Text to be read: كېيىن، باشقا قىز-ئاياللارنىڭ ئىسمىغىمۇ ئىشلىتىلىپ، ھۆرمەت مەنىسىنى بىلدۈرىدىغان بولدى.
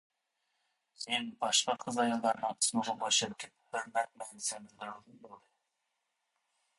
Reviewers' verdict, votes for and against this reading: rejected, 0, 2